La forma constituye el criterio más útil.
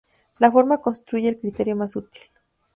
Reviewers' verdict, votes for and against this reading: accepted, 2, 0